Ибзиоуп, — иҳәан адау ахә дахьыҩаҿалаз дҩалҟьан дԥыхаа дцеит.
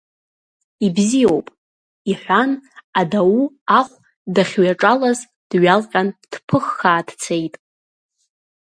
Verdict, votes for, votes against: accepted, 2, 0